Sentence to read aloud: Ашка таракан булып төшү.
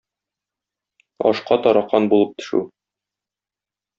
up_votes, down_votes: 2, 0